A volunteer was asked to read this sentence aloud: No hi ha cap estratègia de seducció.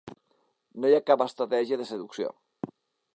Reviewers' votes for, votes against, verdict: 3, 0, accepted